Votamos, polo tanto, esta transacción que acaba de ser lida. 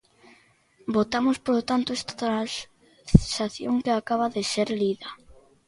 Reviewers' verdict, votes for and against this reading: rejected, 0, 2